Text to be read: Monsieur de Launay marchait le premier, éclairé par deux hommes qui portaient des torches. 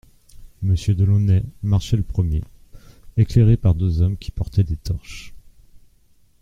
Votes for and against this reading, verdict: 2, 0, accepted